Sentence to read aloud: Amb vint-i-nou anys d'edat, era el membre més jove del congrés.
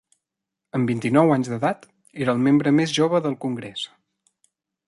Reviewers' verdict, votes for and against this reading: accepted, 2, 0